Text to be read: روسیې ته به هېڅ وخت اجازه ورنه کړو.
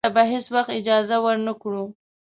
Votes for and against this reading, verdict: 1, 2, rejected